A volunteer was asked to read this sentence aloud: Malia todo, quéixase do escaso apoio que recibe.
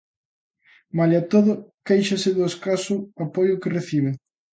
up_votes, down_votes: 2, 0